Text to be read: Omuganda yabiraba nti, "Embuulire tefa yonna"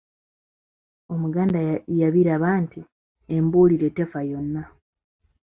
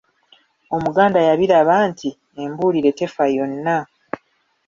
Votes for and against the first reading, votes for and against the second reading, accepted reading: 2, 0, 1, 2, first